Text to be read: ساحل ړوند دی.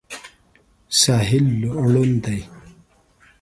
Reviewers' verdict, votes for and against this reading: rejected, 0, 2